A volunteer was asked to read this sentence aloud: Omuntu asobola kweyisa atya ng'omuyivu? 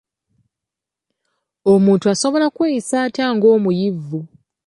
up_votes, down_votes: 2, 0